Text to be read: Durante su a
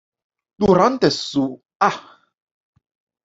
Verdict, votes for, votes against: accepted, 2, 1